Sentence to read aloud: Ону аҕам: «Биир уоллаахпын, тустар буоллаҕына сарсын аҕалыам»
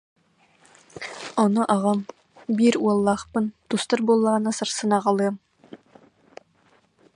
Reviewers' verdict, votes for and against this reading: accepted, 2, 0